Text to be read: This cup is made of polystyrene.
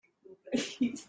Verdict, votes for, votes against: rejected, 0, 2